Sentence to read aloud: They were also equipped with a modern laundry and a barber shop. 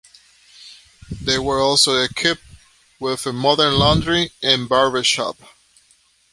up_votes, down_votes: 1, 3